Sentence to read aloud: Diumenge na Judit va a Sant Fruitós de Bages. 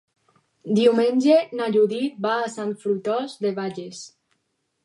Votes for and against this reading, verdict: 4, 0, accepted